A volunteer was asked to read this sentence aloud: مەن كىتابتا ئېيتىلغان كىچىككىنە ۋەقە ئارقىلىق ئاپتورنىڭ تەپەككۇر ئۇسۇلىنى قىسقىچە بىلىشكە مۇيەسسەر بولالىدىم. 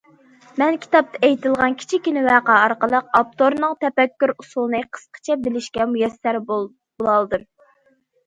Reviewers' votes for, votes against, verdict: 0, 2, rejected